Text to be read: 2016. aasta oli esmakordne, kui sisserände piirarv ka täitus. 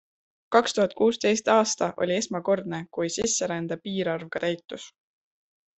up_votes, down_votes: 0, 2